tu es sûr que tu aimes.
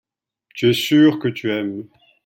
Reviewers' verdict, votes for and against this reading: accepted, 2, 0